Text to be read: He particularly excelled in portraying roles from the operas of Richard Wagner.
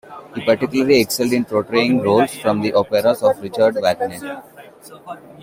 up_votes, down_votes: 1, 2